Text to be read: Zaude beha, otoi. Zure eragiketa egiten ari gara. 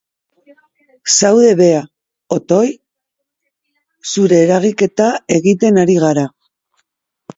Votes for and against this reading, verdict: 2, 0, accepted